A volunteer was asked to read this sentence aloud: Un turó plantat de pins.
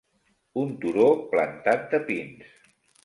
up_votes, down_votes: 2, 0